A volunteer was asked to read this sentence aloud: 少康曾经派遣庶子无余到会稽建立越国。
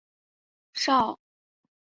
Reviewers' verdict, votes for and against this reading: rejected, 0, 3